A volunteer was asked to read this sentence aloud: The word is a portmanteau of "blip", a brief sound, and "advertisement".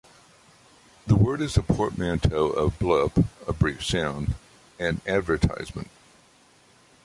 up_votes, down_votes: 3, 0